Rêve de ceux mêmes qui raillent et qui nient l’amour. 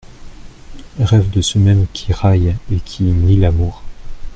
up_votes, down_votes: 2, 0